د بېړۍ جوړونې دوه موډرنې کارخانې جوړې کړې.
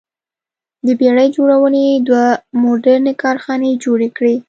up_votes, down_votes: 2, 0